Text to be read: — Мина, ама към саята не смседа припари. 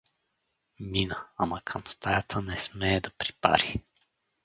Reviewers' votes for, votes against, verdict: 2, 2, rejected